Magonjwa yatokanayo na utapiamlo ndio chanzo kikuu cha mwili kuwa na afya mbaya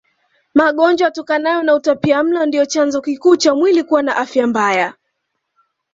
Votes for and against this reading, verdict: 2, 0, accepted